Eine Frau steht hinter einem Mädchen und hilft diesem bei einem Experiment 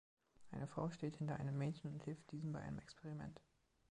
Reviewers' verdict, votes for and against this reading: accepted, 2, 0